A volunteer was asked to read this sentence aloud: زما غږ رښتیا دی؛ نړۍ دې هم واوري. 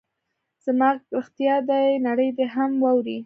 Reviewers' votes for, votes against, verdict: 0, 2, rejected